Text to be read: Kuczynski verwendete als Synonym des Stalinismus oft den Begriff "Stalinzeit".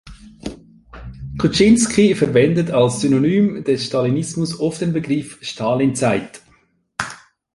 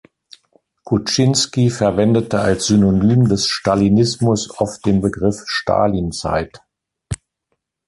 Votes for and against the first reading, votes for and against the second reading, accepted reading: 1, 2, 2, 0, second